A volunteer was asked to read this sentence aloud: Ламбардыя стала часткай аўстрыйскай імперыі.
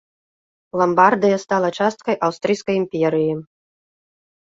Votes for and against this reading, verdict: 2, 0, accepted